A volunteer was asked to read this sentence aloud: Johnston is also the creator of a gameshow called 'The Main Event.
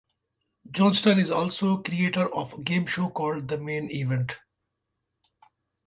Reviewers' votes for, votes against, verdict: 0, 2, rejected